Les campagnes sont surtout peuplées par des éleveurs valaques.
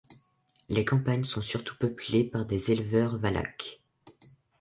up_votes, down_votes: 1, 2